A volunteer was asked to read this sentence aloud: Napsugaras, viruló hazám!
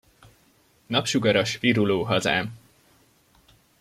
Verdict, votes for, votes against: accepted, 2, 0